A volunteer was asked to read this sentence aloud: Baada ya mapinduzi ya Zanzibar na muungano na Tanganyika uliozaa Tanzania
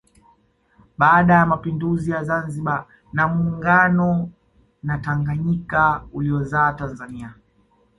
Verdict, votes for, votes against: accepted, 2, 0